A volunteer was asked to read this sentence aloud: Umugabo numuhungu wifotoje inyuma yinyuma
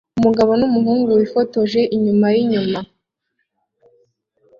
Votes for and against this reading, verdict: 2, 0, accepted